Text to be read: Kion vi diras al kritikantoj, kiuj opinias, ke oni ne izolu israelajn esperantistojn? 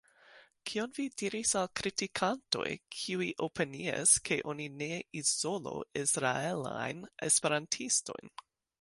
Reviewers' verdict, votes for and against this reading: rejected, 0, 2